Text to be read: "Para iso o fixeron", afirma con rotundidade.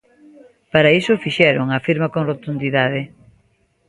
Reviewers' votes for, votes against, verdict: 2, 0, accepted